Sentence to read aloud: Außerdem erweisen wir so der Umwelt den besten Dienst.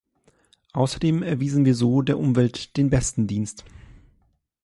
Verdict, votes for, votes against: rejected, 0, 2